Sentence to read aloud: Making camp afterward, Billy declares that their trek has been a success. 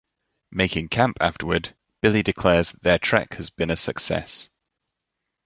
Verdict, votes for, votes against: rejected, 0, 2